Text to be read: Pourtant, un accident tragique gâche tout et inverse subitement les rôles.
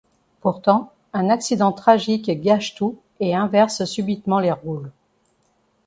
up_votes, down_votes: 2, 0